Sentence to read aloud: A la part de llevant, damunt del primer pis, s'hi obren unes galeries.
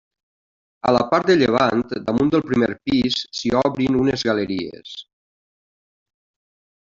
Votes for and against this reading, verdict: 1, 2, rejected